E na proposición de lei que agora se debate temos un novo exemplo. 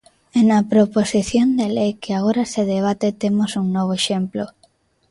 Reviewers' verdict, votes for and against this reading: accepted, 2, 1